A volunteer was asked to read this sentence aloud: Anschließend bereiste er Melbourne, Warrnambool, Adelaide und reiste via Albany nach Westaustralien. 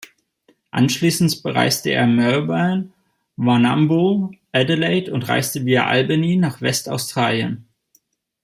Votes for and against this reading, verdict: 1, 2, rejected